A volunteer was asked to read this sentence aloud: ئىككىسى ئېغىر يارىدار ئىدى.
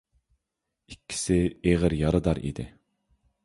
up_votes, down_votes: 2, 0